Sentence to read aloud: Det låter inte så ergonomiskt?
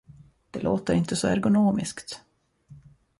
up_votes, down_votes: 2, 0